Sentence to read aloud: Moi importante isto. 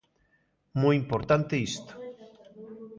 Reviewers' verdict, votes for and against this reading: accepted, 2, 0